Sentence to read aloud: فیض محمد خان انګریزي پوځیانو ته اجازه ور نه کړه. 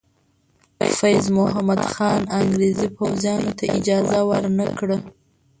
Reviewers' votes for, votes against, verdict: 0, 2, rejected